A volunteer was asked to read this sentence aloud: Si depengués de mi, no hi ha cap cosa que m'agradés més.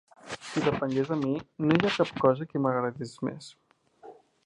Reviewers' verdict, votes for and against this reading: rejected, 2, 3